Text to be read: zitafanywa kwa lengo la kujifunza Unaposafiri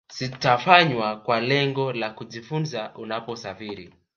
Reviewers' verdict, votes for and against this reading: rejected, 1, 2